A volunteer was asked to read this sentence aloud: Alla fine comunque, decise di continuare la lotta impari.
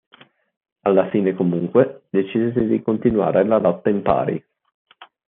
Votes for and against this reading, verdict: 2, 4, rejected